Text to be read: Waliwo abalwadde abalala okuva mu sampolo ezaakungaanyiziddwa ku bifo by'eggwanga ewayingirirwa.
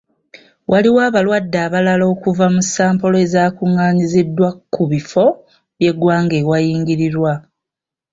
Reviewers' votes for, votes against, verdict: 2, 1, accepted